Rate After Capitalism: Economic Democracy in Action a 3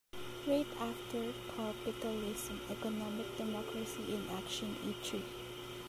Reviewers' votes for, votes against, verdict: 0, 2, rejected